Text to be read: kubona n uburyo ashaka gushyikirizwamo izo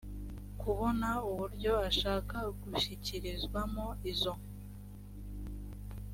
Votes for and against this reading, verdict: 3, 0, accepted